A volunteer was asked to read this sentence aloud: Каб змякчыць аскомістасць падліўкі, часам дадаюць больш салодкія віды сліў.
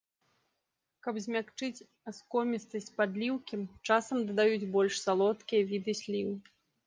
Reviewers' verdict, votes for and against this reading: accepted, 2, 1